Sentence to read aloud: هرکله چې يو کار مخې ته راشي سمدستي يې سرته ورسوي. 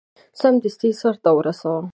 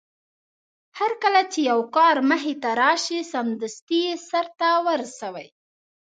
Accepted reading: second